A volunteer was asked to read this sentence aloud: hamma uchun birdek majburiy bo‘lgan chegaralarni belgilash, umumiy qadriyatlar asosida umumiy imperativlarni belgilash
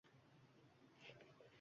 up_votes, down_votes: 1, 2